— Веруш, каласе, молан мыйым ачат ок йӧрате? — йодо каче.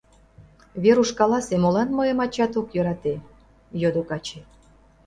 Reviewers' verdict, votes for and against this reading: accepted, 2, 0